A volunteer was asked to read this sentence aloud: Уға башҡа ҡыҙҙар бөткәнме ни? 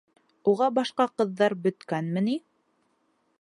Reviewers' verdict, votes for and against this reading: accepted, 2, 0